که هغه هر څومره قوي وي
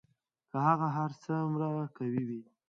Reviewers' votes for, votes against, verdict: 1, 2, rejected